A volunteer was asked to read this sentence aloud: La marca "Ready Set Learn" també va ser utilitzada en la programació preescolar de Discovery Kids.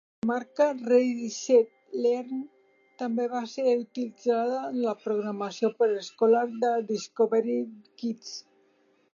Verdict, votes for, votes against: rejected, 0, 3